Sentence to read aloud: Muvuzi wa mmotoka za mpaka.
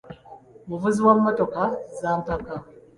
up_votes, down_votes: 2, 0